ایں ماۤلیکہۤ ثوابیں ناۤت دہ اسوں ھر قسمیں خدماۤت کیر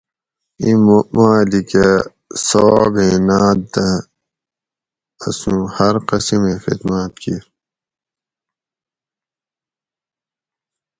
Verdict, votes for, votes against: rejected, 2, 2